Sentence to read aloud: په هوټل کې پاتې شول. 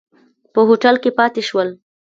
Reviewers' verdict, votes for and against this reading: accepted, 2, 0